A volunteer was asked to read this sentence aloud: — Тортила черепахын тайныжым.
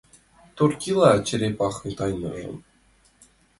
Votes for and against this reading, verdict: 2, 1, accepted